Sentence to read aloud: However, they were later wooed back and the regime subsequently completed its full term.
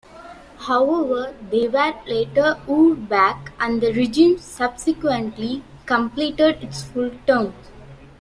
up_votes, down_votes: 2, 1